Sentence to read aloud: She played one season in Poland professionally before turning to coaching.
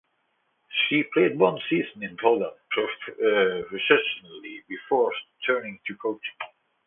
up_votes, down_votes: 2, 0